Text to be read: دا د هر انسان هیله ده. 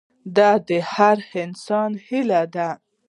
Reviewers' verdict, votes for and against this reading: rejected, 1, 2